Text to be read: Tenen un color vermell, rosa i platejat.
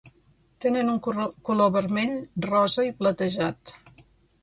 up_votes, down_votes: 1, 2